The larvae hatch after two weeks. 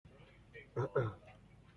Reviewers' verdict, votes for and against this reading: rejected, 0, 2